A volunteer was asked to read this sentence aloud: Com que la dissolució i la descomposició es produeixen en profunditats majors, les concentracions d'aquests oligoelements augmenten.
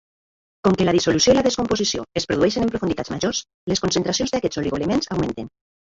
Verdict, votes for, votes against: rejected, 0, 2